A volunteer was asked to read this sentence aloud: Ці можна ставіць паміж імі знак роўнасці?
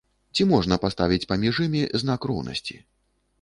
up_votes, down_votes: 1, 2